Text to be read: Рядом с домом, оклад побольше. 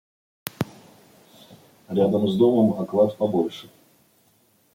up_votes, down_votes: 1, 2